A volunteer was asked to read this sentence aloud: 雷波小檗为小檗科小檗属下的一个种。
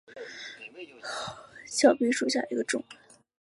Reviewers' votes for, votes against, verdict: 2, 3, rejected